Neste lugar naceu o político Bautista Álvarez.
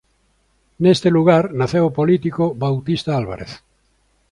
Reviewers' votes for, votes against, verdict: 2, 0, accepted